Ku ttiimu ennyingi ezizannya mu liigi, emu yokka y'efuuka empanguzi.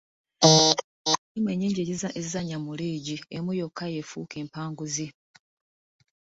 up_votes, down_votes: 1, 2